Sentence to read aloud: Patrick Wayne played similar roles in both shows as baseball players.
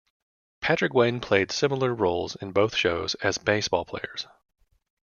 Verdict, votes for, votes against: accepted, 2, 0